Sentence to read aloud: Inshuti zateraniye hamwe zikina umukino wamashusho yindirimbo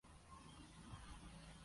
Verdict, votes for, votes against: rejected, 0, 2